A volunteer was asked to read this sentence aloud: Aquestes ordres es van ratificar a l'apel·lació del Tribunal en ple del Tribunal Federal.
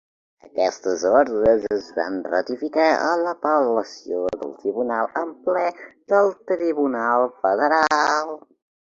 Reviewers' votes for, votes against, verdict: 2, 0, accepted